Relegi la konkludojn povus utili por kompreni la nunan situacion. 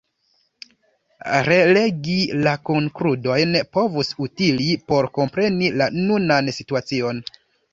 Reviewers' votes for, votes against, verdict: 1, 2, rejected